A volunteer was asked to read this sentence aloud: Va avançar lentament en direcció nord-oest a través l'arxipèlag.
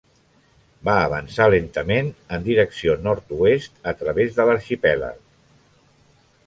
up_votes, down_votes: 2, 0